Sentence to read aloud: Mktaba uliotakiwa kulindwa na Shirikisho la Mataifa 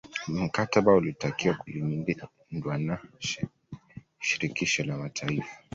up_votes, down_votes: 1, 2